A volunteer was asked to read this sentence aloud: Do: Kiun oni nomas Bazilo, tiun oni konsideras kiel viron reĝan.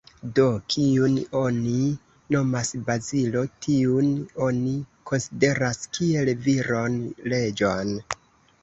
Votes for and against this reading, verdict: 0, 2, rejected